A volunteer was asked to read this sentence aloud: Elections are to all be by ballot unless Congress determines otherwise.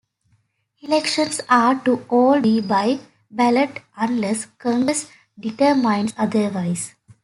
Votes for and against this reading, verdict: 2, 1, accepted